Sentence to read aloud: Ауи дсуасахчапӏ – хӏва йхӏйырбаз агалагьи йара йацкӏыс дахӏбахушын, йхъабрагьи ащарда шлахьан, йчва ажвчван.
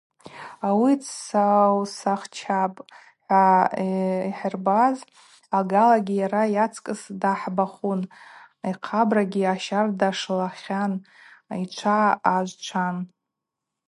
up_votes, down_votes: 0, 2